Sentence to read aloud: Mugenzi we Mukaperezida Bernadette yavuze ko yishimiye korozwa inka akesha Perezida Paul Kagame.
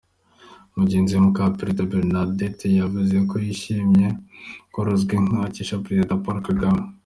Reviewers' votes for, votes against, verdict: 2, 0, accepted